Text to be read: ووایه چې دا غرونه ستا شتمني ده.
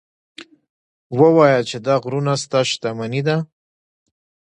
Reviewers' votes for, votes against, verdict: 1, 2, rejected